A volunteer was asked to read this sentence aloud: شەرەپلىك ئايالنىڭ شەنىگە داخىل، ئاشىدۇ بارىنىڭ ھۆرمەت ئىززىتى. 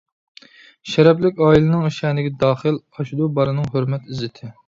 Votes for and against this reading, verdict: 0, 2, rejected